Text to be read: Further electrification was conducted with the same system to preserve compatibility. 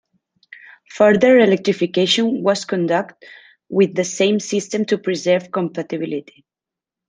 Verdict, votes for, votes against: rejected, 1, 2